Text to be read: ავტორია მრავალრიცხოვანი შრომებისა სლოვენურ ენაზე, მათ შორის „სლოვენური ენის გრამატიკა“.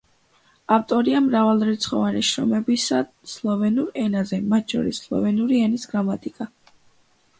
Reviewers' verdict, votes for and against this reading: accepted, 2, 0